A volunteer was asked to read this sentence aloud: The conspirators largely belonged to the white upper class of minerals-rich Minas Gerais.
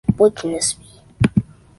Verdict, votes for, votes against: rejected, 0, 2